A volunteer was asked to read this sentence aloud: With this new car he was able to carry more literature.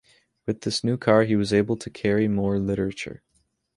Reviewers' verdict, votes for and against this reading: accepted, 2, 0